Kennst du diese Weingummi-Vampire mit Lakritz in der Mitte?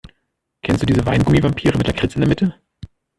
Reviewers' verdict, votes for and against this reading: rejected, 1, 2